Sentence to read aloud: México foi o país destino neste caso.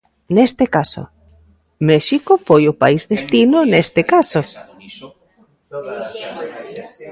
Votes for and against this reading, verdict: 0, 2, rejected